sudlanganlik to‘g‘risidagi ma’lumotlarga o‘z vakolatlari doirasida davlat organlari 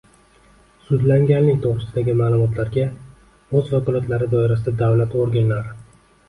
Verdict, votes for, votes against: accepted, 2, 0